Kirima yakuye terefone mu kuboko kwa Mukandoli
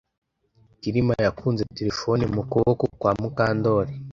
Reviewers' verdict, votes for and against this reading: rejected, 1, 2